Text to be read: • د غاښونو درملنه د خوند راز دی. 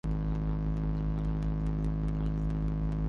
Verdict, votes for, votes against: rejected, 0, 2